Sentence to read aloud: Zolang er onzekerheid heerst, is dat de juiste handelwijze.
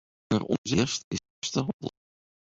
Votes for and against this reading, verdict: 0, 2, rejected